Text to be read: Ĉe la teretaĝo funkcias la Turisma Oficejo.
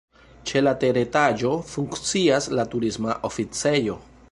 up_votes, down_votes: 1, 2